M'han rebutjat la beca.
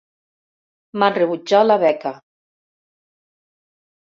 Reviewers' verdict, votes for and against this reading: accepted, 2, 0